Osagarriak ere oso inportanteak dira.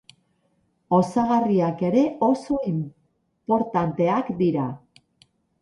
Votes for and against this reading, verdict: 2, 2, rejected